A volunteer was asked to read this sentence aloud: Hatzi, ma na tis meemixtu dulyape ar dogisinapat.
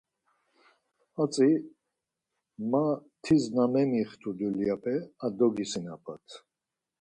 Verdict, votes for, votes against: rejected, 2, 4